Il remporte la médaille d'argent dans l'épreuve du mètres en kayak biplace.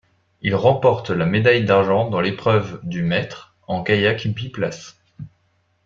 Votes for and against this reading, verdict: 2, 0, accepted